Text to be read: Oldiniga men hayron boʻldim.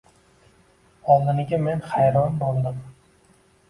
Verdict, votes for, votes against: accepted, 2, 0